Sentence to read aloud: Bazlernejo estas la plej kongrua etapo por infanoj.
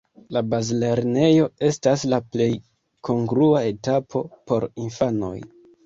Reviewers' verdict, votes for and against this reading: rejected, 1, 2